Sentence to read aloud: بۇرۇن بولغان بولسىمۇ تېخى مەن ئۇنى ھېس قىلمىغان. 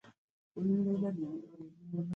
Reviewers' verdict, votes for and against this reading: rejected, 0, 2